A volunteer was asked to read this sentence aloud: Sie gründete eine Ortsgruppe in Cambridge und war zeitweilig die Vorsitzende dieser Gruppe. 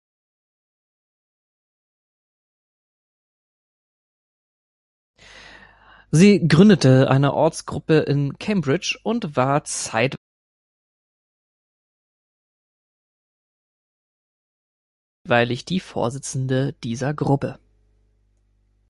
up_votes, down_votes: 0, 2